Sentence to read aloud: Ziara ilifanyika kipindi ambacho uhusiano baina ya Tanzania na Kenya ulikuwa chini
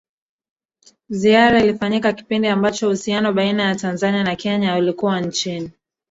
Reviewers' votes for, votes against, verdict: 1, 2, rejected